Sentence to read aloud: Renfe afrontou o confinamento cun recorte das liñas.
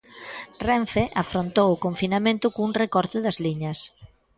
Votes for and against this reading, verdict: 2, 0, accepted